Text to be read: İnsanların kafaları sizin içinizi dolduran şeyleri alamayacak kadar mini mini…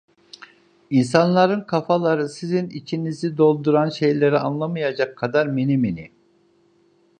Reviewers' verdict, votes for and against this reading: rejected, 1, 2